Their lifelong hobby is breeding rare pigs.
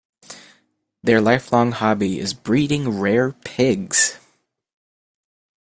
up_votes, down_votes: 2, 1